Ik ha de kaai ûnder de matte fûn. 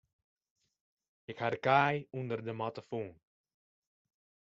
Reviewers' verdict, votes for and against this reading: accepted, 2, 0